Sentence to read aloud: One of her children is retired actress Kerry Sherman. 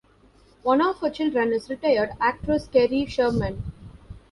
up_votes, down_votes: 1, 2